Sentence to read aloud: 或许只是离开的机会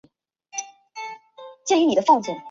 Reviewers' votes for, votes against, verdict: 0, 3, rejected